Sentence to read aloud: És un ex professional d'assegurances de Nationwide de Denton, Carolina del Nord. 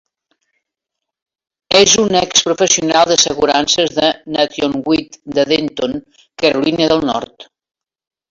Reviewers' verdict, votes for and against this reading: rejected, 2, 3